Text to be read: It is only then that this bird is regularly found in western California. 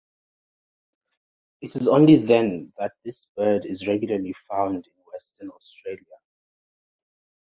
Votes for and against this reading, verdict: 1, 2, rejected